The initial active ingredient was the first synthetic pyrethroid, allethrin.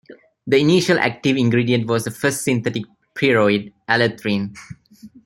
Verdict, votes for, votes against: rejected, 1, 2